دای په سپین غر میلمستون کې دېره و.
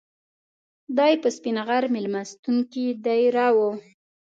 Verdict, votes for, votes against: accepted, 2, 0